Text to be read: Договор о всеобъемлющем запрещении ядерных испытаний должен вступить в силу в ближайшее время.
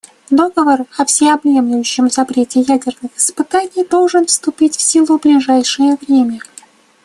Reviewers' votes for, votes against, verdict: 0, 2, rejected